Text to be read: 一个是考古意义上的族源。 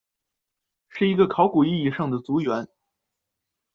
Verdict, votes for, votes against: rejected, 1, 2